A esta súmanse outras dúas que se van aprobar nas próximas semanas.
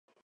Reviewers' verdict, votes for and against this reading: rejected, 0, 4